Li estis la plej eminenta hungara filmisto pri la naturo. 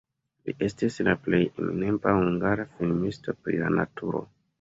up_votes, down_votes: 1, 2